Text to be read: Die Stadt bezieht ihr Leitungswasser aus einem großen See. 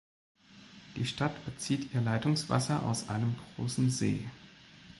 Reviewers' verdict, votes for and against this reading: accepted, 2, 0